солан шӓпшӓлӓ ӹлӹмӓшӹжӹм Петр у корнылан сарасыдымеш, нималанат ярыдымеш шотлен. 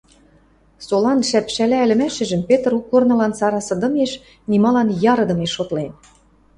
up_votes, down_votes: 0, 2